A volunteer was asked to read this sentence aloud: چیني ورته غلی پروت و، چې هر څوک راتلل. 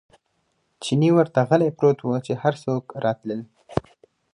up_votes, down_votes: 4, 0